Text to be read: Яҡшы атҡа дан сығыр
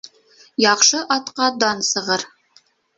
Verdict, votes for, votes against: accepted, 2, 0